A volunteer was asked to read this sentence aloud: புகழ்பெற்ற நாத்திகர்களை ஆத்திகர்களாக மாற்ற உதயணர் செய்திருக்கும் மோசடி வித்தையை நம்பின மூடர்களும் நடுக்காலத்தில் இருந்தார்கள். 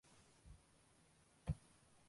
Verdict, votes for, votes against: rejected, 0, 2